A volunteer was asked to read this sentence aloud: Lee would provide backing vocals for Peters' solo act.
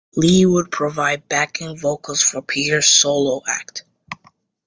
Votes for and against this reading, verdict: 2, 0, accepted